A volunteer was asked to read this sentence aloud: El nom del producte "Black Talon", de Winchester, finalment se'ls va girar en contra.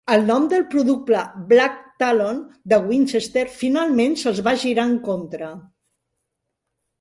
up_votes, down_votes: 1, 2